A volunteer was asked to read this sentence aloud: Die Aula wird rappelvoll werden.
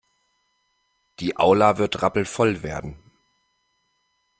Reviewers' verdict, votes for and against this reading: accepted, 2, 0